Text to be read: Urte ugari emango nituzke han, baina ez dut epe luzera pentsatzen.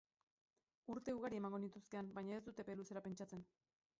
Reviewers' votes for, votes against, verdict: 0, 4, rejected